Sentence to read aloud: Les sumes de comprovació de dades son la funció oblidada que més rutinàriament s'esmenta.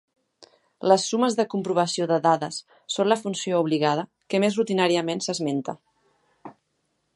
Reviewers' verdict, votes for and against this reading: rejected, 1, 2